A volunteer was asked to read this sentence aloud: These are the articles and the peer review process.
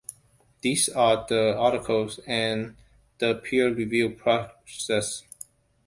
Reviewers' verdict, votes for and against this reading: rejected, 1, 2